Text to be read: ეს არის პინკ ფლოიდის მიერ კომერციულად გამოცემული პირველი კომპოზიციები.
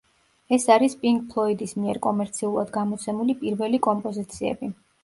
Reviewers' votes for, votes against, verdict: 1, 2, rejected